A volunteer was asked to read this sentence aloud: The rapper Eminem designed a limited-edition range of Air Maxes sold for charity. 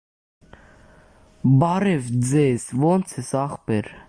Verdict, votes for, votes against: rejected, 0, 2